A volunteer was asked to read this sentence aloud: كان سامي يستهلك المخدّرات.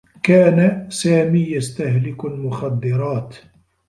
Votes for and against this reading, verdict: 3, 1, accepted